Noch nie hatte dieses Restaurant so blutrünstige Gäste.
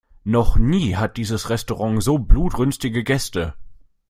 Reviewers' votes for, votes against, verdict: 0, 2, rejected